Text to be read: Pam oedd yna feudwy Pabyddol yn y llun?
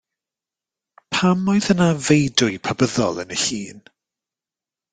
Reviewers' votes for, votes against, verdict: 2, 0, accepted